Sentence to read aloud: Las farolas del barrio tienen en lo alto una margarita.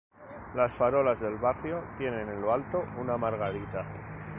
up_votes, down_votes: 0, 2